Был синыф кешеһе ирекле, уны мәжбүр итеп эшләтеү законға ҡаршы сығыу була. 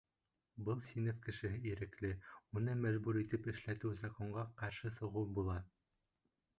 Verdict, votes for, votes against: rejected, 0, 2